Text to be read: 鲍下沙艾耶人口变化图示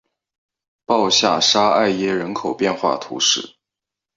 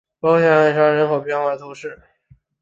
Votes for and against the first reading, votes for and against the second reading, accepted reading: 2, 0, 1, 2, first